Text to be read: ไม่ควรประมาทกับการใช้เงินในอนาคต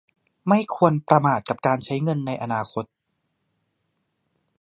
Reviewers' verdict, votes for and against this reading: accepted, 2, 0